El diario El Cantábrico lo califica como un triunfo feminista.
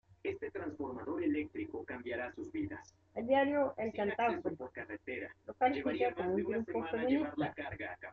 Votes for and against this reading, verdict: 0, 2, rejected